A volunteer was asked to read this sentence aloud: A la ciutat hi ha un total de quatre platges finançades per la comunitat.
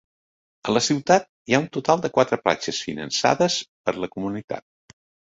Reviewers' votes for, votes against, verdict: 3, 0, accepted